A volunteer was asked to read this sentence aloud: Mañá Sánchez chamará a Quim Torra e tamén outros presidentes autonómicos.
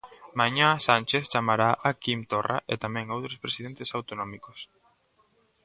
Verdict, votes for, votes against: accepted, 2, 0